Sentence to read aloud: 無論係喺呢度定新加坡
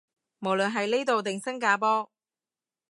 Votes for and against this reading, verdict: 1, 2, rejected